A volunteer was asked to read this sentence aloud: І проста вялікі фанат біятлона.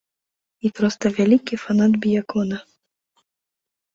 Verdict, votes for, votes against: rejected, 0, 3